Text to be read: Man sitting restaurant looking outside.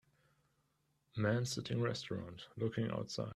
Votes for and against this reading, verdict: 2, 0, accepted